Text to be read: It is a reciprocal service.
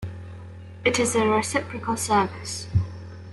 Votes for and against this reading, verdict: 3, 0, accepted